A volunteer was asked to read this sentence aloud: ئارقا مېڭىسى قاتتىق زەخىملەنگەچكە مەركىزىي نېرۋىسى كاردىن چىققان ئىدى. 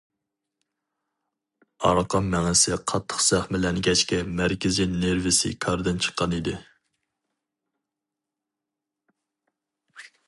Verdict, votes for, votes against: accepted, 2, 0